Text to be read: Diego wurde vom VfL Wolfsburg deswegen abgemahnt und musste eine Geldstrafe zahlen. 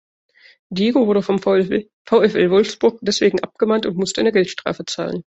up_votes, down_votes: 1, 2